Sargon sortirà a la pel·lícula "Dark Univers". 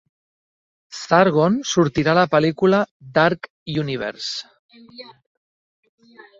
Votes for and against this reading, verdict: 3, 1, accepted